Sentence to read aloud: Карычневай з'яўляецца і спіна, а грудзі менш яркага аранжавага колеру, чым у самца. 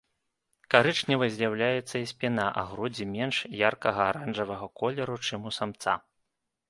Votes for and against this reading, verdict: 1, 2, rejected